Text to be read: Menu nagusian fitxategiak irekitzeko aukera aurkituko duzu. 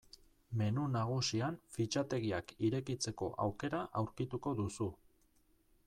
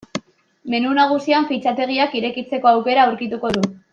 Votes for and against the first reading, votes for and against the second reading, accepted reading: 2, 0, 0, 2, first